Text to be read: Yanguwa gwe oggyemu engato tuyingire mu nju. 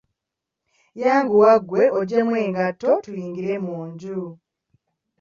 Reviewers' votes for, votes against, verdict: 2, 0, accepted